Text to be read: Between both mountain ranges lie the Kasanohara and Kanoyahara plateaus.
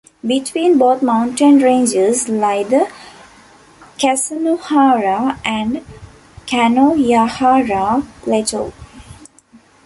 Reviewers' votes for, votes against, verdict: 0, 2, rejected